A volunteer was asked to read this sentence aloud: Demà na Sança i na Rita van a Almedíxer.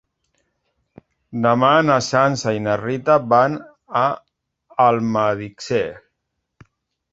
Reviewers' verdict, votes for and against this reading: accepted, 2, 1